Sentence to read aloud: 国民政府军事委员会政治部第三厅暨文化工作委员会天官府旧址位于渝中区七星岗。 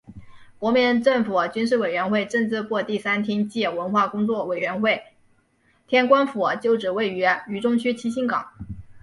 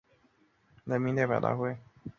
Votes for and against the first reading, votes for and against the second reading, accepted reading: 3, 1, 0, 2, first